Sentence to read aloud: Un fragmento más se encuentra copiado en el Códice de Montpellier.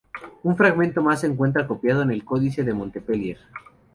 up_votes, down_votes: 0, 2